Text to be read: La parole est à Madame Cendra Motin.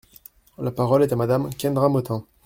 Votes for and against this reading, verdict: 0, 2, rejected